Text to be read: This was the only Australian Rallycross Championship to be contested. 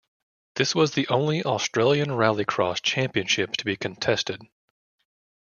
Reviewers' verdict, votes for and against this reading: accepted, 2, 0